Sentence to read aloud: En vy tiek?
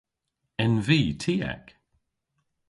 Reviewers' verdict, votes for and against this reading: accepted, 2, 0